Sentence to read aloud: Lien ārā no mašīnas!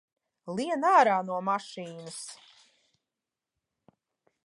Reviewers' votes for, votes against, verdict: 2, 0, accepted